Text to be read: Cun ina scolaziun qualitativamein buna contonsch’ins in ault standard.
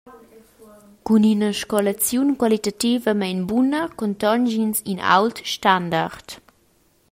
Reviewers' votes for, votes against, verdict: 2, 0, accepted